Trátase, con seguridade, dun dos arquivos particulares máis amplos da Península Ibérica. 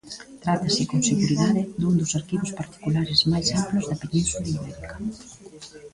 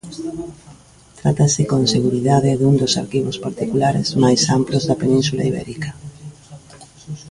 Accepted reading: second